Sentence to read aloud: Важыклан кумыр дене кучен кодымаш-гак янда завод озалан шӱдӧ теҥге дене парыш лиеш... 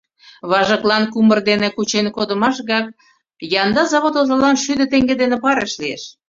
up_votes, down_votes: 2, 0